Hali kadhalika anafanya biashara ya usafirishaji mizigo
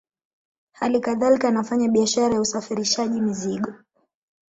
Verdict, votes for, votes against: accepted, 2, 0